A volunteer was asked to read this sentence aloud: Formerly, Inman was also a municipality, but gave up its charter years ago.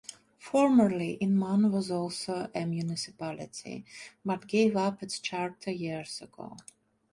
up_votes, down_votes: 2, 0